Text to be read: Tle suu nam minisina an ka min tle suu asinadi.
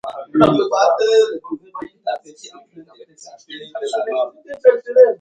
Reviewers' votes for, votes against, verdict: 0, 2, rejected